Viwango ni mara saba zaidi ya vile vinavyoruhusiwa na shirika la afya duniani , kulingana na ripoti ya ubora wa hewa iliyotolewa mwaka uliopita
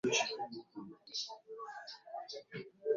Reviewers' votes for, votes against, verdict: 1, 2, rejected